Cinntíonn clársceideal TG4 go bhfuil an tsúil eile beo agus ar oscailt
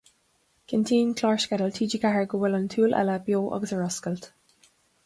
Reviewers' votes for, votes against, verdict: 0, 2, rejected